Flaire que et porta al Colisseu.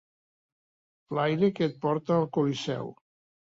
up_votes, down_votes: 2, 0